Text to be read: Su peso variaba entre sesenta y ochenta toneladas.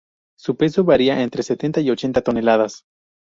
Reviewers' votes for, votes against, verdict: 0, 2, rejected